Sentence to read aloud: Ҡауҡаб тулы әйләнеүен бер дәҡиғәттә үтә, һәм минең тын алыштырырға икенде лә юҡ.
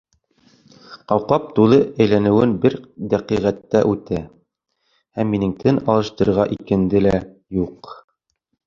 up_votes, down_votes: 1, 2